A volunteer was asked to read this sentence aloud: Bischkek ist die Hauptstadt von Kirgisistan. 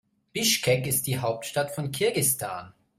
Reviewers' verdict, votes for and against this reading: accepted, 2, 0